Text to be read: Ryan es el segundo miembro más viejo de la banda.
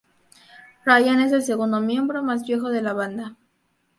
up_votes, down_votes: 2, 0